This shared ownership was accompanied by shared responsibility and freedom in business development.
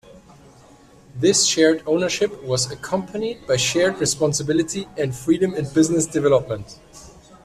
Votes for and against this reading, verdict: 2, 1, accepted